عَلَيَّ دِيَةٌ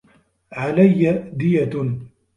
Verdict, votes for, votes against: accepted, 2, 0